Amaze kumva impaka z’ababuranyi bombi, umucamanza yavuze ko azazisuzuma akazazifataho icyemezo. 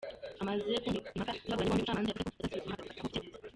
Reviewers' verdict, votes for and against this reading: rejected, 0, 2